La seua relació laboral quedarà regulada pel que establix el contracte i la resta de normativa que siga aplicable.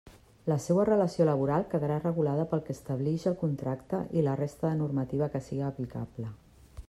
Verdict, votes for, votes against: accepted, 2, 0